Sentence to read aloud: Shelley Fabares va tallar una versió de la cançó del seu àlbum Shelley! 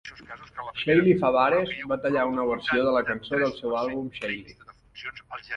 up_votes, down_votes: 1, 2